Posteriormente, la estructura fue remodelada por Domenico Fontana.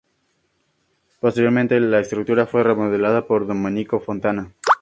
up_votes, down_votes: 2, 0